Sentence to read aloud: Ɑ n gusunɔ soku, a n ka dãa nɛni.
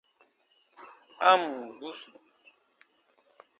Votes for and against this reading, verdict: 0, 2, rejected